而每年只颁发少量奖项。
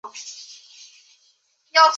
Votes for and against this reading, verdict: 0, 4, rejected